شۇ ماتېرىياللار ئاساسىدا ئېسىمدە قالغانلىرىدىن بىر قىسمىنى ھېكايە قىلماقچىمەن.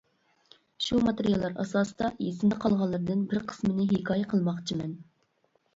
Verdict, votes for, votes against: accepted, 2, 0